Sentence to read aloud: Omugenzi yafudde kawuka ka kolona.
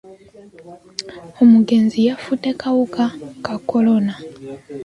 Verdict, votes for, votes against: accepted, 3, 0